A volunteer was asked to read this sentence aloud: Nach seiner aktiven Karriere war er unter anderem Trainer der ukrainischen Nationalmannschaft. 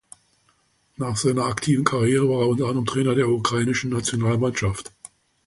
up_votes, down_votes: 2, 1